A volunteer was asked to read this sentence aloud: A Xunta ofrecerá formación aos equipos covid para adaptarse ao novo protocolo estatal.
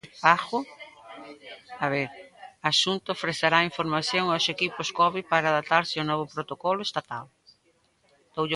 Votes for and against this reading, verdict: 0, 2, rejected